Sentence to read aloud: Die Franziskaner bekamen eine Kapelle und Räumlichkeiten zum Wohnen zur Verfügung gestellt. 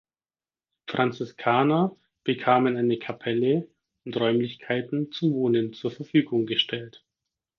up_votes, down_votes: 0, 4